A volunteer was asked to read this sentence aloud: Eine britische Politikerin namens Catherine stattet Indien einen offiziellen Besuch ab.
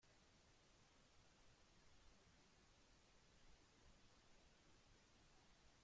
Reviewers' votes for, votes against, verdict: 0, 2, rejected